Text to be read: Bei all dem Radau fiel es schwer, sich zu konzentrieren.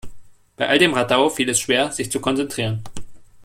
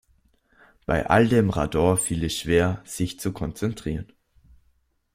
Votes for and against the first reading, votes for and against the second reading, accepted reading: 2, 0, 1, 2, first